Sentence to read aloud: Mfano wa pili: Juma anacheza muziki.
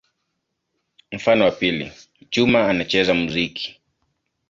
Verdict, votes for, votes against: accepted, 2, 0